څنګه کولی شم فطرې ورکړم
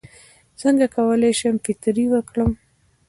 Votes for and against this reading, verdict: 2, 1, accepted